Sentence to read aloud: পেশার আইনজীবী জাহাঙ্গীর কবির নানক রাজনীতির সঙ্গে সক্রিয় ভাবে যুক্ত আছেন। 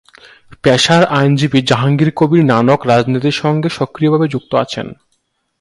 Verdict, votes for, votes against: accepted, 4, 1